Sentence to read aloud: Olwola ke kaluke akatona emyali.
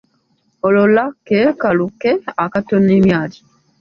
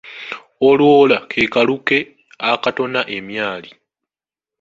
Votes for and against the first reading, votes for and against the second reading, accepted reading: 1, 2, 2, 0, second